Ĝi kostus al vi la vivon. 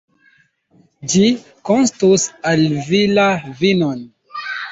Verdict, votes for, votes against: rejected, 1, 2